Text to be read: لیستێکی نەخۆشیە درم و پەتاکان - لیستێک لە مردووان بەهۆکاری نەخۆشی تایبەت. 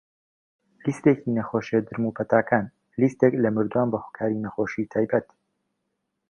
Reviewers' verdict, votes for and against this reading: accepted, 2, 0